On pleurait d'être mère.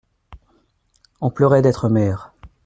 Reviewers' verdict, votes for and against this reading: accepted, 2, 0